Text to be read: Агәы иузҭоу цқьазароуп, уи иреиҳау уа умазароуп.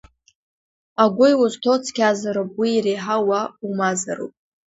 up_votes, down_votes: 2, 0